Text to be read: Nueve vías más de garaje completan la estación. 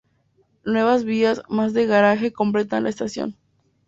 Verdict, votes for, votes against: rejected, 0, 2